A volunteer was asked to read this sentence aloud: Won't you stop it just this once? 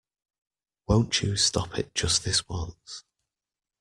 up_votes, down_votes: 2, 0